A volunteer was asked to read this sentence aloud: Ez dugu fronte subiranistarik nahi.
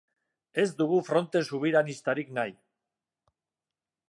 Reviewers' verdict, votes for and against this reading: accepted, 3, 0